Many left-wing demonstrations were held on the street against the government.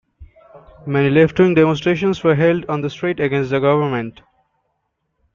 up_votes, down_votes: 2, 0